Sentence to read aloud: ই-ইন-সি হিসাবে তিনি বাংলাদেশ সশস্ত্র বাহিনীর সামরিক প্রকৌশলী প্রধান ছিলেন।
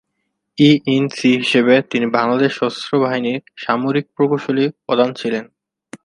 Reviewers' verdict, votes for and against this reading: rejected, 0, 2